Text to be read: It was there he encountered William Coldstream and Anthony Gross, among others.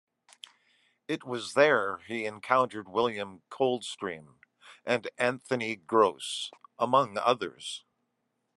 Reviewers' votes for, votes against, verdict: 2, 0, accepted